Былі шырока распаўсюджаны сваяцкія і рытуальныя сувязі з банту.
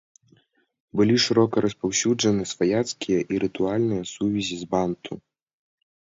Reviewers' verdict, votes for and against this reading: accepted, 2, 0